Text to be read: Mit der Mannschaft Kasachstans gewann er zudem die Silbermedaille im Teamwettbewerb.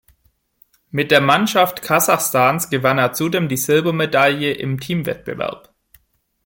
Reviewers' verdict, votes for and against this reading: accepted, 2, 1